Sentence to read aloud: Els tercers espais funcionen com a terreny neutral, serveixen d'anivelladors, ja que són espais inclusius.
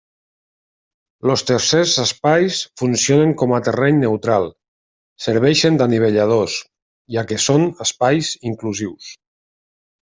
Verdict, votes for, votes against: rejected, 0, 2